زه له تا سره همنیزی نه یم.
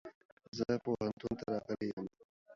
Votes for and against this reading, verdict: 0, 2, rejected